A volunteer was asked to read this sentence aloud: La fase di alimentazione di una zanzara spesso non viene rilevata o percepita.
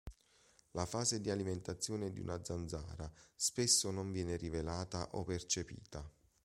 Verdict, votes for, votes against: rejected, 0, 2